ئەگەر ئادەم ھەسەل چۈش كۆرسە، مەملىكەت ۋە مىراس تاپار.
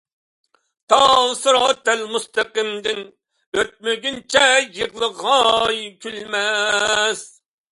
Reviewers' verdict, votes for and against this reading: rejected, 0, 2